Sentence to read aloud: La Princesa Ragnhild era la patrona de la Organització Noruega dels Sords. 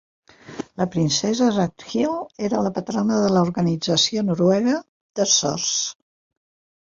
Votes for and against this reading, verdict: 0, 2, rejected